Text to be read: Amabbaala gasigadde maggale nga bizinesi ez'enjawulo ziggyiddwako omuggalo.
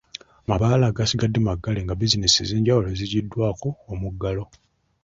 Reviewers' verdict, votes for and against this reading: rejected, 0, 2